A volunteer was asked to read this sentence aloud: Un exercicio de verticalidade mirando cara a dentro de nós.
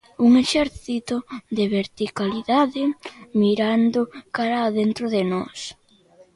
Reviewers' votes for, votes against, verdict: 0, 2, rejected